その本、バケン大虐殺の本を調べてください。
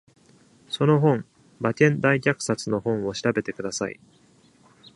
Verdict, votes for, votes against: accepted, 2, 0